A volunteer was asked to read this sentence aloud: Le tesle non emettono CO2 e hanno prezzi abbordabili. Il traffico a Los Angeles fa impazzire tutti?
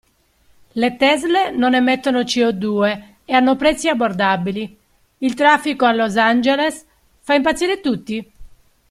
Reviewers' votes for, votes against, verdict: 0, 2, rejected